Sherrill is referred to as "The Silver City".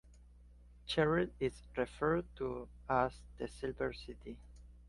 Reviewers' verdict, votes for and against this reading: accepted, 2, 0